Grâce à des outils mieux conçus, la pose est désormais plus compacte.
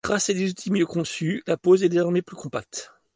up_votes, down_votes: 2, 0